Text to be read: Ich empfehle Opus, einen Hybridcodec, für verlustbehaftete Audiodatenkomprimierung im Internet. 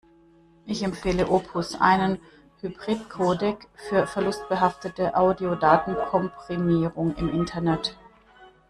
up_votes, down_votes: 1, 2